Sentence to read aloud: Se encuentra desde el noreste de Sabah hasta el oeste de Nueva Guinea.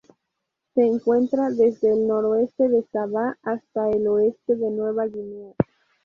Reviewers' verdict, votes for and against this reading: accepted, 2, 0